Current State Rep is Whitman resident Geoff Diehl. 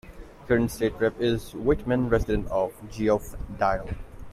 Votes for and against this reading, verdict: 1, 2, rejected